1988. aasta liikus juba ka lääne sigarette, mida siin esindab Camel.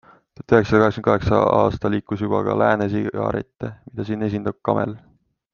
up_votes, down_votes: 0, 2